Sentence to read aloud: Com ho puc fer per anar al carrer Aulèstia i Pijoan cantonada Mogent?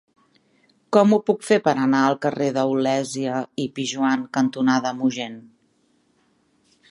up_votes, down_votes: 0, 2